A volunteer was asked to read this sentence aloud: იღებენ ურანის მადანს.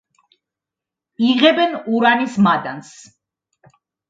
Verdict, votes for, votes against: accepted, 2, 0